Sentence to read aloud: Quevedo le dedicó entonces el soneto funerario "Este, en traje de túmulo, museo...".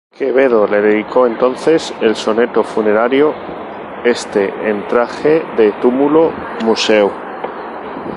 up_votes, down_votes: 2, 2